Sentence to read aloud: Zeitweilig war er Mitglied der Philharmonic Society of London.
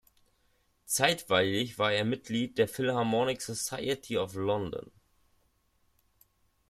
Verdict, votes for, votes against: accepted, 2, 0